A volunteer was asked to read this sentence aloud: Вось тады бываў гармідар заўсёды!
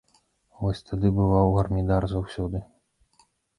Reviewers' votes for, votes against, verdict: 1, 2, rejected